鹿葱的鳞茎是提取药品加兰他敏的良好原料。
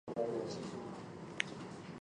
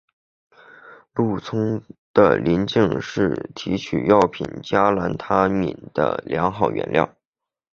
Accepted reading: second